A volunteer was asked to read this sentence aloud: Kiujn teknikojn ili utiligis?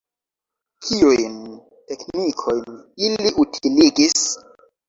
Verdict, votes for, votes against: rejected, 0, 2